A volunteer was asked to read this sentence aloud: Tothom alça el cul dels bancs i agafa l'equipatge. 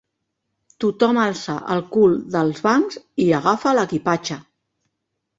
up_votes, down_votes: 3, 0